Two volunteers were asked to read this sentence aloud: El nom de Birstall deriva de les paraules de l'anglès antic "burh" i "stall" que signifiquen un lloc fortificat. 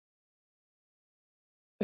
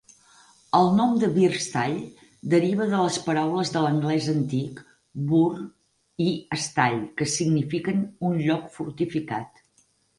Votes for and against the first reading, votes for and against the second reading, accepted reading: 0, 2, 4, 0, second